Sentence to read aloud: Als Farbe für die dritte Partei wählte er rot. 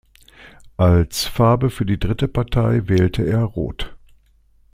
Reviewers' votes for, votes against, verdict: 2, 0, accepted